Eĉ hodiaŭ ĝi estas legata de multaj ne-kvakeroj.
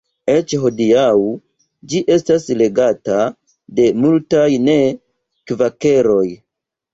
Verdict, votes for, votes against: rejected, 1, 3